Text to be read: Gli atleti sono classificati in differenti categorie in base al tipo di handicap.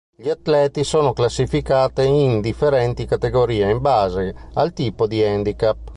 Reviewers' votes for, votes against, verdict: 1, 2, rejected